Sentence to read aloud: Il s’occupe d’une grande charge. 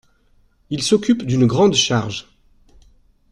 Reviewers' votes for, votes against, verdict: 2, 0, accepted